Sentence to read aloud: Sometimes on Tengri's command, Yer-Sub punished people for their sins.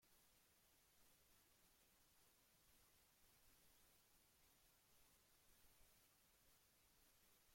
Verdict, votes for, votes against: rejected, 0, 2